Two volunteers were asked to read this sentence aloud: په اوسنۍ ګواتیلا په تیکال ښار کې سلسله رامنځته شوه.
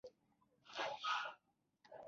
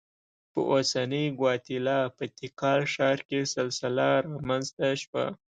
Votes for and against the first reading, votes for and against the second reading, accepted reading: 0, 2, 2, 0, second